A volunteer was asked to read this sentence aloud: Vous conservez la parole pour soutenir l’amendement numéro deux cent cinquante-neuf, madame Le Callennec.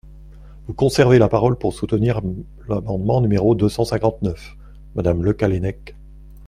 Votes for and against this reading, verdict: 1, 2, rejected